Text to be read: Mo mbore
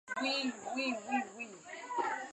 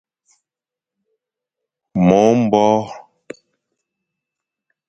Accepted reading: second